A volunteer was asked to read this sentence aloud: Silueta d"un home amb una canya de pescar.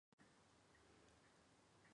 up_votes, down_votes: 0, 2